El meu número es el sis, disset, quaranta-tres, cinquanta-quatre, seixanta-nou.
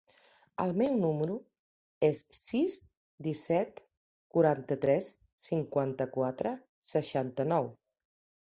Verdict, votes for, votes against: rejected, 0, 2